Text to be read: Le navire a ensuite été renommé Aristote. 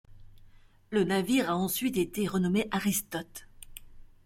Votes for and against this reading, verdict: 2, 0, accepted